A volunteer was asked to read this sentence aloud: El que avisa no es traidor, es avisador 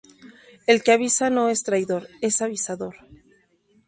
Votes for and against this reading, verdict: 4, 0, accepted